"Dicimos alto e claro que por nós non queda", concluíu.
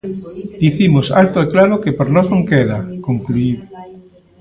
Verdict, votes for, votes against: rejected, 1, 2